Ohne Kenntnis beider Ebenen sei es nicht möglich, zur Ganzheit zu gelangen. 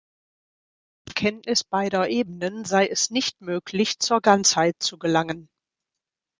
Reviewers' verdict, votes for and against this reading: rejected, 0, 2